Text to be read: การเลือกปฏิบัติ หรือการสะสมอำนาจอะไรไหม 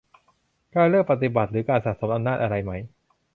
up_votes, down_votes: 2, 2